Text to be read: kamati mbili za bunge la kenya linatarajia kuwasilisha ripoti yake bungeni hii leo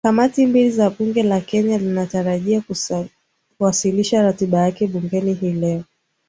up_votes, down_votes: 0, 2